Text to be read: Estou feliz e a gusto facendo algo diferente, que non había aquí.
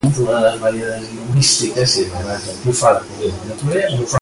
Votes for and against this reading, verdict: 0, 2, rejected